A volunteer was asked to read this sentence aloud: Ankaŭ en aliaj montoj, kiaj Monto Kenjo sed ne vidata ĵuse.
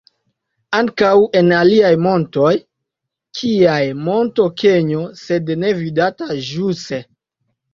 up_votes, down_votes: 2, 0